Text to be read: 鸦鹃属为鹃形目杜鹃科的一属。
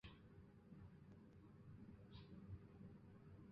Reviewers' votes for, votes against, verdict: 4, 2, accepted